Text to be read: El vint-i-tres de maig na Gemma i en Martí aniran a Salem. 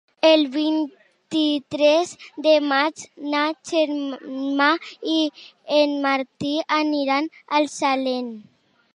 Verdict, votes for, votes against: rejected, 1, 4